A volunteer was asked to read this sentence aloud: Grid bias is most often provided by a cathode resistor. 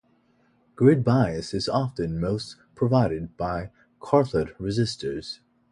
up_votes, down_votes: 0, 2